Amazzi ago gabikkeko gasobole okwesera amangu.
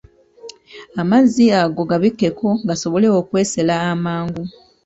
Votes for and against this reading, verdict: 1, 2, rejected